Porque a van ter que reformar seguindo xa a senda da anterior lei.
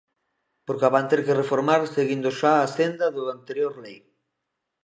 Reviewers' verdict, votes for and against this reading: rejected, 1, 2